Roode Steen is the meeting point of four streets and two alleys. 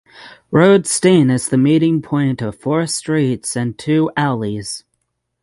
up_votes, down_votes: 6, 0